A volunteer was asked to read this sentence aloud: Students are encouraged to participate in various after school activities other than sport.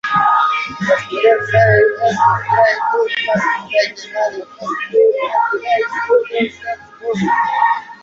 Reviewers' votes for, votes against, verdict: 0, 2, rejected